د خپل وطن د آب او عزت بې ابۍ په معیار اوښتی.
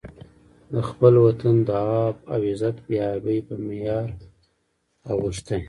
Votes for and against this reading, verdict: 1, 2, rejected